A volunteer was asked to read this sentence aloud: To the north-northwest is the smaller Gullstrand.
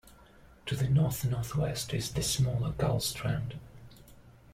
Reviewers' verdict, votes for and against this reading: accepted, 2, 0